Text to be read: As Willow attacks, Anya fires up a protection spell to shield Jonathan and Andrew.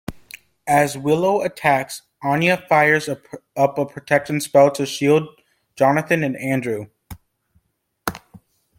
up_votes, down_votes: 1, 2